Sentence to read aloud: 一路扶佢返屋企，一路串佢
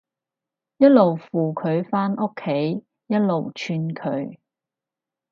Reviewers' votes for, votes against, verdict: 4, 0, accepted